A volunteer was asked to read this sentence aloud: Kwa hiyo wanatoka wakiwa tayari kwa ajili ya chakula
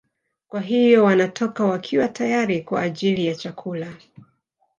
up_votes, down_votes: 0, 2